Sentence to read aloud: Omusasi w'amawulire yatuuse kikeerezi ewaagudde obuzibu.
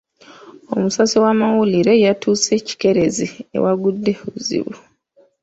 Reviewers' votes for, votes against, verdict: 2, 0, accepted